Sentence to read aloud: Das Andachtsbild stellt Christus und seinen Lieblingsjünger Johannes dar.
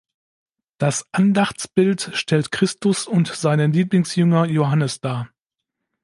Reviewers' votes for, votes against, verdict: 2, 0, accepted